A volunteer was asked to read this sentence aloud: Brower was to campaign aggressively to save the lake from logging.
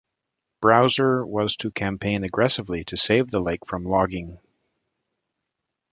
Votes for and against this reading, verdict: 1, 2, rejected